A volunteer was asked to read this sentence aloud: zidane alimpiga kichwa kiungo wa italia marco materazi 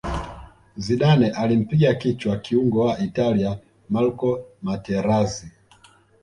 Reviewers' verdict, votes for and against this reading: accepted, 2, 1